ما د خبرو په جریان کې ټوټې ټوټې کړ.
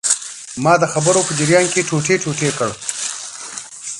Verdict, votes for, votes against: accepted, 2, 1